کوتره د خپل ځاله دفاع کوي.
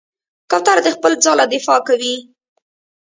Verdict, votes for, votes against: rejected, 2, 3